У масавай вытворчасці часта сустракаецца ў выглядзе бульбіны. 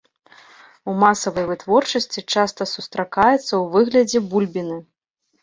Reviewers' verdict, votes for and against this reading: accepted, 2, 0